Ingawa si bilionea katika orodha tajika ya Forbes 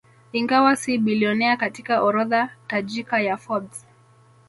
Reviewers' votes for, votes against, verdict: 2, 0, accepted